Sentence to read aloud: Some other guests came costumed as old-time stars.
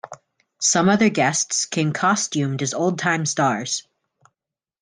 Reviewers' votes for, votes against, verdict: 2, 0, accepted